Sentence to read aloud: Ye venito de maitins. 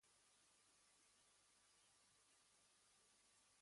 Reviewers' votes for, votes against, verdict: 1, 2, rejected